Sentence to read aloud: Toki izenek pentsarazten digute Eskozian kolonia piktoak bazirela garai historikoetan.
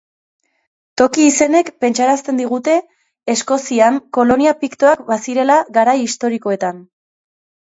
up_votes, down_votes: 2, 0